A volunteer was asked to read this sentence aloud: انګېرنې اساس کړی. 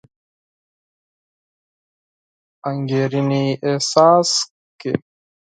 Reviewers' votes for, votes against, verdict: 0, 4, rejected